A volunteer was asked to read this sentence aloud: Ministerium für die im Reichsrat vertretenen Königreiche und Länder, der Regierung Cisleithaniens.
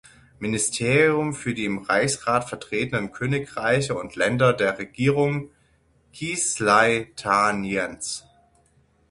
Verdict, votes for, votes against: rejected, 3, 6